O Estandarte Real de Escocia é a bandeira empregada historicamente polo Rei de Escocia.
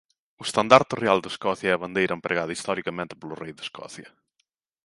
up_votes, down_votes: 2, 0